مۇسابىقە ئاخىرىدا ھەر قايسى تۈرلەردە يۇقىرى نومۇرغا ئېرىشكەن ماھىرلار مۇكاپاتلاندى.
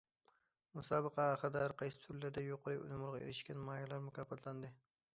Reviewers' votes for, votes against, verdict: 0, 2, rejected